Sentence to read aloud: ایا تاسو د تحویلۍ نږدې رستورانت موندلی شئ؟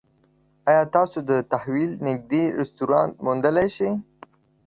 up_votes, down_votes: 1, 2